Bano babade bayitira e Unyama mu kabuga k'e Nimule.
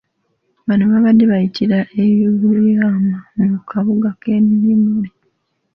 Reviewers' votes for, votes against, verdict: 2, 1, accepted